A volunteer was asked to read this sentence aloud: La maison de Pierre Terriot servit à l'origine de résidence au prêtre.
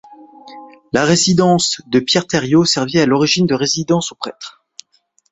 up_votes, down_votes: 0, 2